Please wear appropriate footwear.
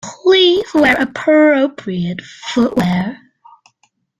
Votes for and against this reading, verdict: 2, 0, accepted